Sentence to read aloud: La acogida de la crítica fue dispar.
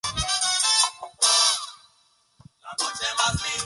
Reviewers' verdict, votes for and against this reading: rejected, 0, 2